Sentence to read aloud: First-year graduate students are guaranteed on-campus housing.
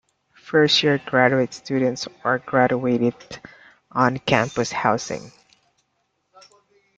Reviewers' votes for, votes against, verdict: 0, 2, rejected